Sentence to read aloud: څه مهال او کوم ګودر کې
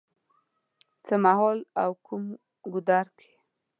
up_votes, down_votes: 2, 0